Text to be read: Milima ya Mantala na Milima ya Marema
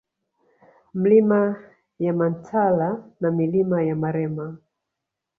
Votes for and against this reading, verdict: 2, 0, accepted